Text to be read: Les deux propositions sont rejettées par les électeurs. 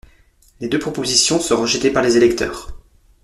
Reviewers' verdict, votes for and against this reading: accepted, 2, 0